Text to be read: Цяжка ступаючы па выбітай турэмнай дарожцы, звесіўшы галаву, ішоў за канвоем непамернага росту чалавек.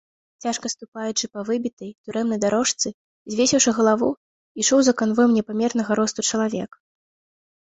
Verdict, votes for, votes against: accepted, 2, 0